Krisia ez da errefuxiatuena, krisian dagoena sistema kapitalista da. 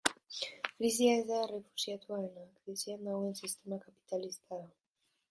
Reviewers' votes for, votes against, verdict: 0, 2, rejected